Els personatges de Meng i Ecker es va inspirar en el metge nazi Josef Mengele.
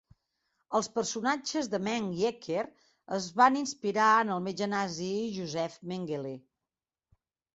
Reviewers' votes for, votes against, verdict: 2, 1, accepted